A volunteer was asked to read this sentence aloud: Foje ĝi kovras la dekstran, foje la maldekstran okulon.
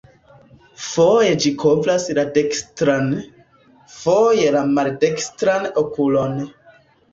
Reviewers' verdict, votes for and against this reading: accepted, 2, 0